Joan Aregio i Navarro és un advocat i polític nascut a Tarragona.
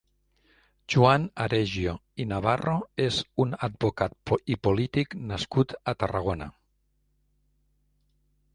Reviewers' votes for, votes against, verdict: 1, 2, rejected